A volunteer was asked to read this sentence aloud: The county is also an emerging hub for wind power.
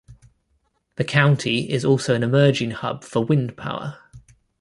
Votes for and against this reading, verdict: 2, 0, accepted